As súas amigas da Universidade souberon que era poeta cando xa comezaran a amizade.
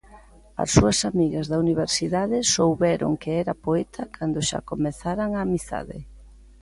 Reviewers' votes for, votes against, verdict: 2, 0, accepted